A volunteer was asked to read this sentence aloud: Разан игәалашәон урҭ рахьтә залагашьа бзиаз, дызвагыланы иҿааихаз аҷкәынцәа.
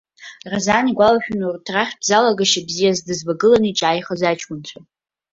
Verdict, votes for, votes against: rejected, 1, 2